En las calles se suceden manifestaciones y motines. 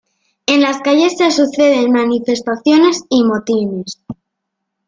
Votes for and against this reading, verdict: 1, 2, rejected